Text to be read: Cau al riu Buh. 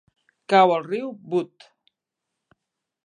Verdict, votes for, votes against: rejected, 0, 2